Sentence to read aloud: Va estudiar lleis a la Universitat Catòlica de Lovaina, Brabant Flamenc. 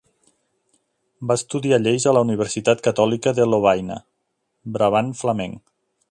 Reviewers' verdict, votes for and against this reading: accepted, 2, 0